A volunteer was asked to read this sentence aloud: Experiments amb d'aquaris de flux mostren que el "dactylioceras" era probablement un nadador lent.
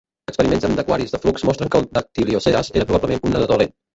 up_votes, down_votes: 0, 2